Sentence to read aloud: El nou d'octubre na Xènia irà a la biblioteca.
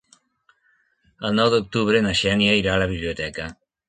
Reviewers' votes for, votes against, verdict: 4, 0, accepted